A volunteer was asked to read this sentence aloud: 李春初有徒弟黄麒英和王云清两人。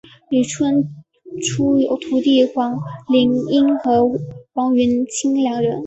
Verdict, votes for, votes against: accepted, 2, 0